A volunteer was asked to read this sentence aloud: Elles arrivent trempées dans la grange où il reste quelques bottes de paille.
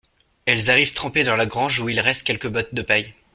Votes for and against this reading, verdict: 2, 0, accepted